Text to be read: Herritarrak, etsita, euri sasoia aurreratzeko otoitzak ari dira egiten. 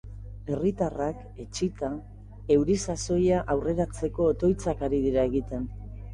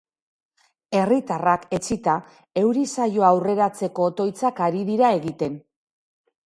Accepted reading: first